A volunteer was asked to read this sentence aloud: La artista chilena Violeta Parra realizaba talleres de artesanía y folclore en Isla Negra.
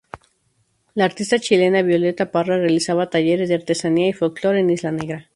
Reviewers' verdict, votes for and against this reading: rejected, 0, 2